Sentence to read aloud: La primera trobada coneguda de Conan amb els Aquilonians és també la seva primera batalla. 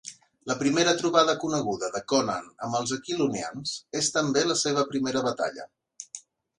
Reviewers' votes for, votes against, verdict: 2, 0, accepted